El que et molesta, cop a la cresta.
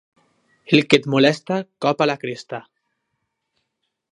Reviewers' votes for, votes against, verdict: 2, 0, accepted